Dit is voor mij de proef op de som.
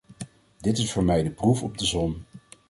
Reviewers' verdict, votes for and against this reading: accepted, 2, 0